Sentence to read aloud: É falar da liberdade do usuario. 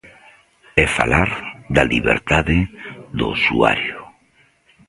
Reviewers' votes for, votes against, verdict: 0, 2, rejected